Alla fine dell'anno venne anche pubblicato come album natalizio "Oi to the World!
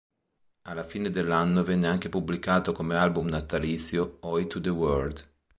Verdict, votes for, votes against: accepted, 2, 0